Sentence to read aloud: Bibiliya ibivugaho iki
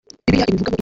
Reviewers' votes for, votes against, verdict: 1, 2, rejected